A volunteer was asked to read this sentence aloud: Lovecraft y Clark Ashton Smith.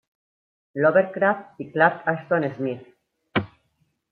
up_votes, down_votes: 1, 2